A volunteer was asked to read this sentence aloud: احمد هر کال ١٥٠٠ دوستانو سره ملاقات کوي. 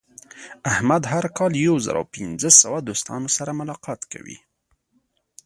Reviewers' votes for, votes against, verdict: 0, 2, rejected